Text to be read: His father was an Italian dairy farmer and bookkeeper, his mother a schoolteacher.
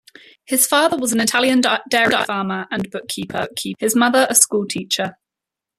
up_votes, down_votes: 0, 2